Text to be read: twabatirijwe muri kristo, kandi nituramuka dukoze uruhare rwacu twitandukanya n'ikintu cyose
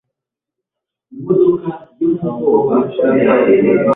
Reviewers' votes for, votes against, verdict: 1, 2, rejected